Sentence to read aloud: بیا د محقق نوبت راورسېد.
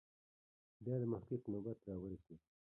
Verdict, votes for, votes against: rejected, 0, 2